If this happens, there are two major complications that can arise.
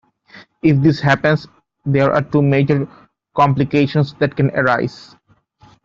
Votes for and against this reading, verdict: 2, 0, accepted